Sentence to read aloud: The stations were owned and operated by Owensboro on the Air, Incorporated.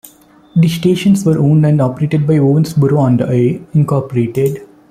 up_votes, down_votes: 1, 2